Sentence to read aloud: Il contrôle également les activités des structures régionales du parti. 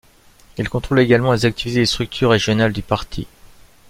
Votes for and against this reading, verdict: 2, 0, accepted